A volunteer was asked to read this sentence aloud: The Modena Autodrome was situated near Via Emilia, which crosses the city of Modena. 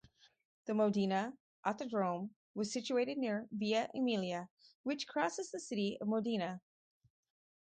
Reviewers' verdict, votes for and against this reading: accepted, 4, 0